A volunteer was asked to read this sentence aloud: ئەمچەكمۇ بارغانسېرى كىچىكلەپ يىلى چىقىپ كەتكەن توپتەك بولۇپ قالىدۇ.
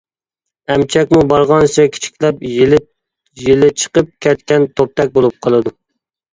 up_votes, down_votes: 1, 2